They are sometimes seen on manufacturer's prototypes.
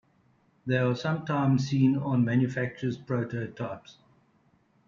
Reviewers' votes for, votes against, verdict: 2, 0, accepted